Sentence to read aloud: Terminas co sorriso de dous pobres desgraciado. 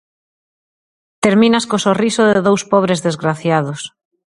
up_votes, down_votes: 0, 2